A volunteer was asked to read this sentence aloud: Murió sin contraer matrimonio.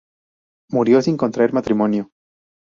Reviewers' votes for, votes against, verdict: 2, 0, accepted